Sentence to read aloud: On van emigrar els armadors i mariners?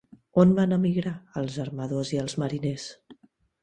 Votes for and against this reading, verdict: 0, 2, rejected